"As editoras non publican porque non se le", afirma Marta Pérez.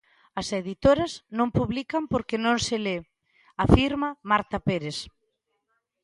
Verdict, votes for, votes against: accepted, 2, 0